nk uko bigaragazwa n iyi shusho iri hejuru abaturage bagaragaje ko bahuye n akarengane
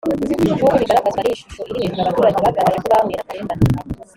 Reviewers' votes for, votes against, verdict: 0, 2, rejected